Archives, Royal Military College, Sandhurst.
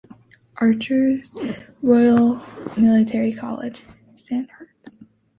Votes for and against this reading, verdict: 1, 2, rejected